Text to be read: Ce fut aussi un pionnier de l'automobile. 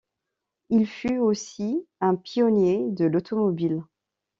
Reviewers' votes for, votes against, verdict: 0, 2, rejected